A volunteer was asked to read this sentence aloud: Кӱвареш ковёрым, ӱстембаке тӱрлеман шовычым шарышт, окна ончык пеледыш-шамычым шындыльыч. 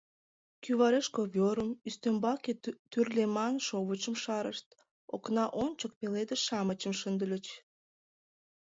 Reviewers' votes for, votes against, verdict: 1, 2, rejected